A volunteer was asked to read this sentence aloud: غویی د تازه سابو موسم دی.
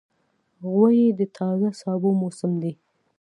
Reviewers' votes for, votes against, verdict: 2, 0, accepted